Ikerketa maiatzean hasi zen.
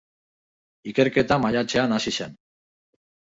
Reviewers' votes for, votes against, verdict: 0, 2, rejected